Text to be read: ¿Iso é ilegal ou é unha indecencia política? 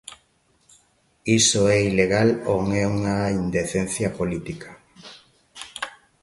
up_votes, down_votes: 0, 2